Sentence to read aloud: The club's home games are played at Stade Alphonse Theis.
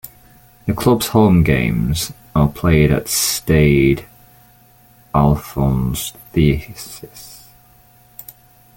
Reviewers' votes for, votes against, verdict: 1, 2, rejected